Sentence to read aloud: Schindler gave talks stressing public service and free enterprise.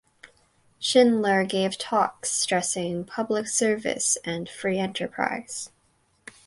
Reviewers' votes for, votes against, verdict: 2, 4, rejected